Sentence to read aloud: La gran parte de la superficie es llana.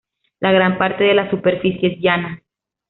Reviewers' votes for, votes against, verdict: 2, 0, accepted